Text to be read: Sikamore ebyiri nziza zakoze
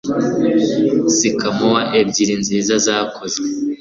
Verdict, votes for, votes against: accepted, 2, 0